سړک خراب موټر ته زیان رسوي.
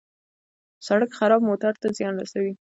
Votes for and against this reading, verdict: 2, 0, accepted